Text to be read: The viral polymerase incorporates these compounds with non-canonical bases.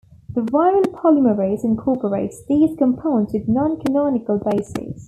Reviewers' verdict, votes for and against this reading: accepted, 2, 0